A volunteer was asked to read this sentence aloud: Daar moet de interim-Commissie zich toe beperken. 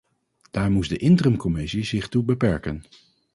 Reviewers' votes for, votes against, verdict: 0, 2, rejected